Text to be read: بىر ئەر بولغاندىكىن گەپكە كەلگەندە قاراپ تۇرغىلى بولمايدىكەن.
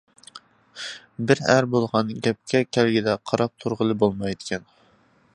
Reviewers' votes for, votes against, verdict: 0, 2, rejected